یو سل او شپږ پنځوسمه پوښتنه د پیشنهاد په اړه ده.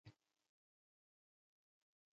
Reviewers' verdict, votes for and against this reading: rejected, 1, 2